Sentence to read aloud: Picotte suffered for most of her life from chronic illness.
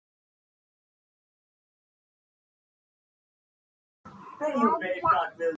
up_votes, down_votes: 0, 2